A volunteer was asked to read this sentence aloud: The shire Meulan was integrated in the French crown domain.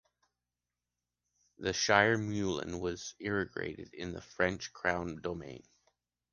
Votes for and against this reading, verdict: 0, 2, rejected